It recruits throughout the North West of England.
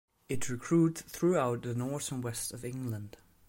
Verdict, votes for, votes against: accepted, 2, 0